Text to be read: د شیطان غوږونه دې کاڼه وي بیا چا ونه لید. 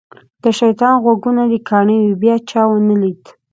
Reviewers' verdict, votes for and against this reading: accepted, 2, 0